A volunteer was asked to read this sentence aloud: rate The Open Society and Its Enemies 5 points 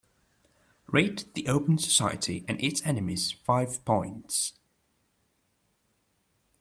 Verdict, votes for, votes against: rejected, 0, 2